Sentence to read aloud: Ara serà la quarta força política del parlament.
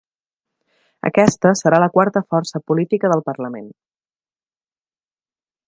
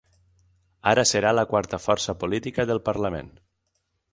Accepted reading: second